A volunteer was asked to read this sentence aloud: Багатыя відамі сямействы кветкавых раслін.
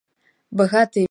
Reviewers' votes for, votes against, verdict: 0, 2, rejected